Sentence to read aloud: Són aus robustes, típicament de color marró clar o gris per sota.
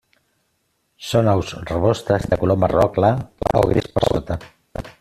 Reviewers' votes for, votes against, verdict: 0, 2, rejected